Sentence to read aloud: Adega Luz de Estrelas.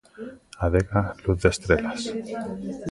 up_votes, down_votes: 1, 2